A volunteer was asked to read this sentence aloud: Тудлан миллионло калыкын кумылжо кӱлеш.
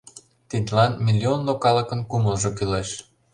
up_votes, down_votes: 0, 2